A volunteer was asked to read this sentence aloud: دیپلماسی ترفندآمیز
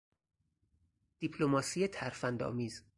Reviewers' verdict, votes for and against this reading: accepted, 4, 0